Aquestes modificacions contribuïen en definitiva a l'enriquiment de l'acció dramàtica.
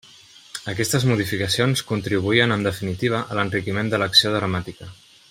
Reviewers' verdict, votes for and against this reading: accepted, 3, 0